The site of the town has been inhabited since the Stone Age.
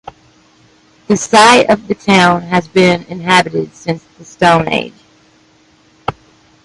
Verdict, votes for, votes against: accepted, 2, 0